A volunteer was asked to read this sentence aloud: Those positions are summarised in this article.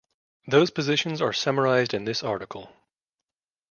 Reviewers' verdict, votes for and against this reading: accepted, 2, 0